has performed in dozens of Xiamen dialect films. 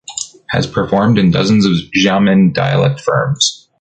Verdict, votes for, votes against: rejected, 0, 3